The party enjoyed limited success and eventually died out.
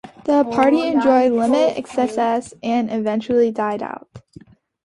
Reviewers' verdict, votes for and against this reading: rejected, 0, 2